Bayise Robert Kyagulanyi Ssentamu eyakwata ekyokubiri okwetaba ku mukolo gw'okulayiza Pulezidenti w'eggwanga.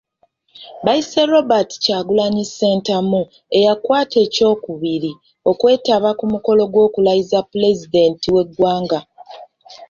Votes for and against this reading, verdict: 2, 0, accepted